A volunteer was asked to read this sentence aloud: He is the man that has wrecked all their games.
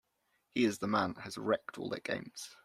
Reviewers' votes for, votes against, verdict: 0, 2, rejected